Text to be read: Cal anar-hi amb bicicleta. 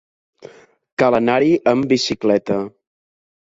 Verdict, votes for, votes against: accepted, 3, 0